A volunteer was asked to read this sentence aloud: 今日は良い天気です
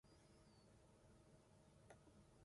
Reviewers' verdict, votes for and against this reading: rejected, 0, 2